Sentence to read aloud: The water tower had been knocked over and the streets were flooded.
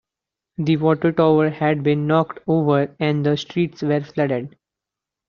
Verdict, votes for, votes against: accepted, 2, 1